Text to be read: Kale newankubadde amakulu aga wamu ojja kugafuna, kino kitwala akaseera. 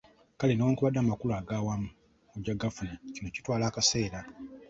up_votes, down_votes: 1, 2